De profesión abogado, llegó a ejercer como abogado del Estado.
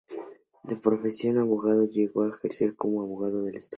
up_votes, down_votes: 2, 0